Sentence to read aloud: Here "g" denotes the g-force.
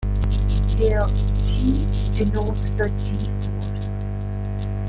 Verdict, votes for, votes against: rejected, 0, 2